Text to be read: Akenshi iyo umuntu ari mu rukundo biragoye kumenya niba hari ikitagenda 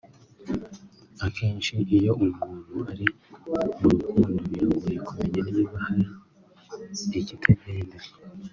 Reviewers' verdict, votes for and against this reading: rejected, 1, 2